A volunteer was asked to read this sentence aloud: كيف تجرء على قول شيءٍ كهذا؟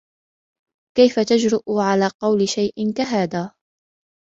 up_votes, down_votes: 2, 0